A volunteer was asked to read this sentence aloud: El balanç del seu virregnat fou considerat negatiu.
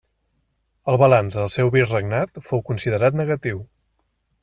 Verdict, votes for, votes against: accepted, 2, 0